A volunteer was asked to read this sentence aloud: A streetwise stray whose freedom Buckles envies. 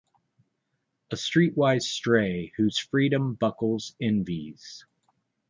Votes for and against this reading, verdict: 2, 1, accepted